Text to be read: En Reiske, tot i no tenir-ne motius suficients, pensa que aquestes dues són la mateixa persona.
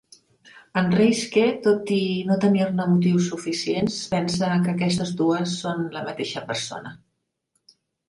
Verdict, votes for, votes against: accepted, 2, 0